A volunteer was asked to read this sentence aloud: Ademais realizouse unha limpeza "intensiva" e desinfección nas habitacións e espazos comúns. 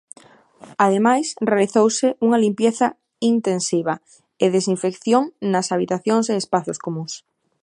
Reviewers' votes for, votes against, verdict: 0, 2, rejected